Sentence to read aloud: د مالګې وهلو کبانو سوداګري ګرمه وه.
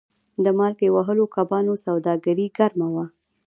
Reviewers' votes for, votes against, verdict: 1, 2, rejected